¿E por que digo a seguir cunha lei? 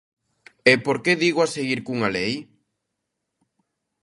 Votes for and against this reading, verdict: 2, 0, accepted